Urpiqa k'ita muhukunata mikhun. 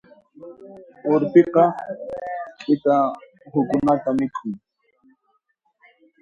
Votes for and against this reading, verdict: 1, 2, rejected